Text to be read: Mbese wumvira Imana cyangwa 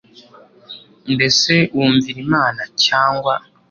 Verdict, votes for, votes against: accepted, 2, 0